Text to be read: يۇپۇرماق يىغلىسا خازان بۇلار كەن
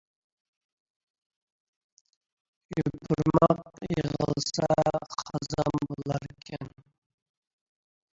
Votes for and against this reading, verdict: 0, 2, rejected